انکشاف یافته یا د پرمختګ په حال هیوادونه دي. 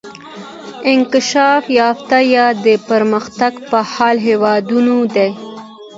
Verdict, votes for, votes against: accepted, 2, 0